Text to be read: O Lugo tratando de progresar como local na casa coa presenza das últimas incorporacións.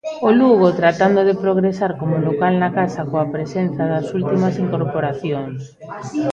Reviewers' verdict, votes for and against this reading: rejected, 1, 2